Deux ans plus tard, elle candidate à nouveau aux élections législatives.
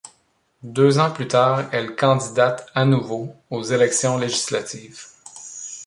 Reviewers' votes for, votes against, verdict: 2, 0, accepted